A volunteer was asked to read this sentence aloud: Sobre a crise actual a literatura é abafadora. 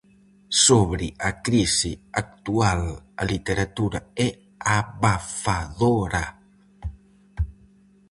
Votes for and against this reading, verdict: 0, 4, rejected